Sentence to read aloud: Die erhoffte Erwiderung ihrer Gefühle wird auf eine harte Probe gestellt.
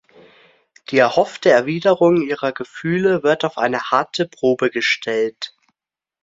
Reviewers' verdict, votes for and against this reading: accepted, 2, 0